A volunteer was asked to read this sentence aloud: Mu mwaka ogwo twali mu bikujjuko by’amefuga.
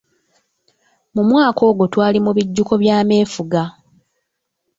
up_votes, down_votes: 0, 2